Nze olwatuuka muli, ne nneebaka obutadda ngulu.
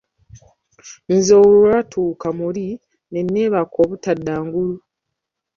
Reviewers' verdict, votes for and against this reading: rejected, 1, 2